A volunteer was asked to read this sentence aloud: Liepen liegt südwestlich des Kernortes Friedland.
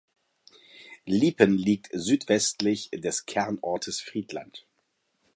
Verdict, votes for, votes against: accepted, 2, 0